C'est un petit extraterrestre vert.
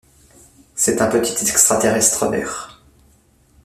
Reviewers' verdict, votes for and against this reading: rejected, 0, 2